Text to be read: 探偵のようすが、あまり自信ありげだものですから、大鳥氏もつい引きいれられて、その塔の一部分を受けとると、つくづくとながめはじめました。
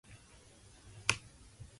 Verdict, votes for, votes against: rejected, 0, 2